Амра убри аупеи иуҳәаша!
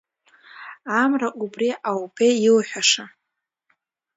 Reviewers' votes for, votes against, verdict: 2, 0, accepted